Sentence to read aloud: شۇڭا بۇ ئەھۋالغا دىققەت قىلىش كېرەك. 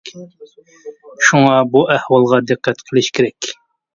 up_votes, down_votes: 2, 0